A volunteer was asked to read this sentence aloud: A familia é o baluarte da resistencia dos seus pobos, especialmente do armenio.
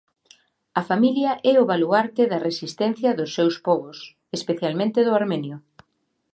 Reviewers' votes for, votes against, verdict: 2, 0, accepted